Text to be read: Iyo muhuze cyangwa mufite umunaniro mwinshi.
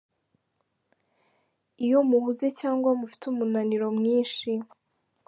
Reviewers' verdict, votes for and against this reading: accepted, 2, 0